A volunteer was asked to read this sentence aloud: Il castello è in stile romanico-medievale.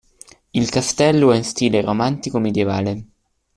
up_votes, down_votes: 0, 2